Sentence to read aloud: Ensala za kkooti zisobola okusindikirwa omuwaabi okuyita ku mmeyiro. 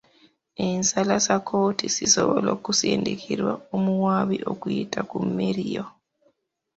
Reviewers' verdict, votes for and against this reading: accepted, 2, 1